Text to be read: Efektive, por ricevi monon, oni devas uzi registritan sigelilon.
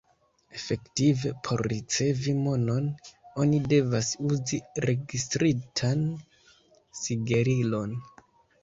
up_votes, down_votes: 1, 2